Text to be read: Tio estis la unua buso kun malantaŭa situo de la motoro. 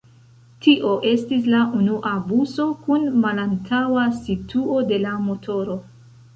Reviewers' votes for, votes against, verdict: 0, 2, rejected